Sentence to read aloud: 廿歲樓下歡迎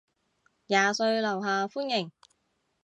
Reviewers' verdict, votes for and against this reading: accepted, 2, 0